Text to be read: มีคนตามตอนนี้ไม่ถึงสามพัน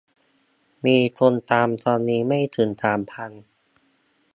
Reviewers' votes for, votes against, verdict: 2, 0, accepted